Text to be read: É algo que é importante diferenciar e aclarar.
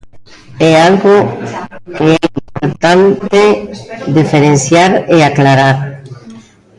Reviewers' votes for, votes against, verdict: 1, 2, rejected